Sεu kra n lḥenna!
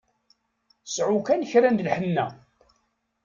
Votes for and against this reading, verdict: 1, 2, rejected